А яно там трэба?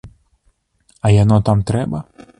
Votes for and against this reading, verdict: 2, 0, accepted